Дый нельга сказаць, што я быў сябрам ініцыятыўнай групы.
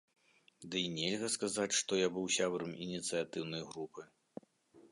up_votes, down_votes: 2, 0